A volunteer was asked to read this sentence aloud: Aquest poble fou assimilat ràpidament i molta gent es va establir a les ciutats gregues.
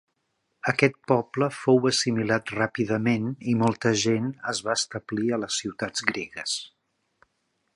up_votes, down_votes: 2, 0